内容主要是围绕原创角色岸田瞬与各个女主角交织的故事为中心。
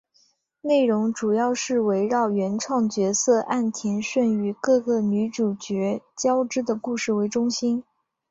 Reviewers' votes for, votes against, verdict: 1, 2, rejected